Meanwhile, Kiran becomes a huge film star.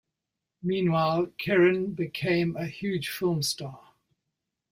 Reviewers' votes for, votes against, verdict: 1, 2, rejected